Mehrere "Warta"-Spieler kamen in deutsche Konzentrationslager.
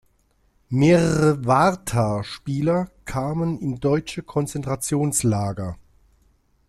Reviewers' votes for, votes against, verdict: 2, 0, accepted